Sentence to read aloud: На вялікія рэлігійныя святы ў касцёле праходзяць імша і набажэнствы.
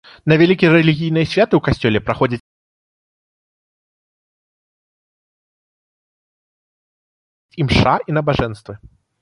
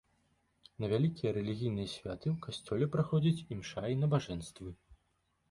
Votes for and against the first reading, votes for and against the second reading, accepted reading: 1, 2, 2, 0, second